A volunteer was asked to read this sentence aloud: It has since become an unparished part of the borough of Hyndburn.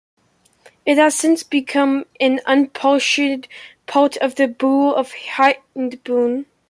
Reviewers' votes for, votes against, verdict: 1, 2, rejected